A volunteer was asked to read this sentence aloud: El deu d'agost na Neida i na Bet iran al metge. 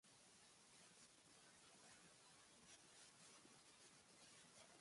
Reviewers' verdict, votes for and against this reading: rejected, 0, 2